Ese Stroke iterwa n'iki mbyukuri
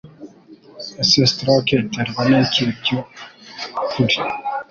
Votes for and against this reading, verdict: 3, 0, accepted